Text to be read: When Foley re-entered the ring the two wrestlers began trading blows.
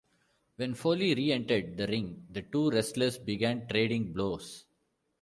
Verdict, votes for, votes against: rejected, 1, 2